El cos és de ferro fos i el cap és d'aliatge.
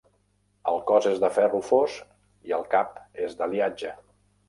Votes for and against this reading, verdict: 3, 0, accepted